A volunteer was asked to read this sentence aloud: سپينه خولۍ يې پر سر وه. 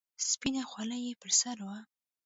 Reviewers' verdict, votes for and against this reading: rejected, 0, 2